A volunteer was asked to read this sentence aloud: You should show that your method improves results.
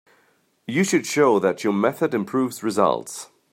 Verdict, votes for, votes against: accepted, 2, 0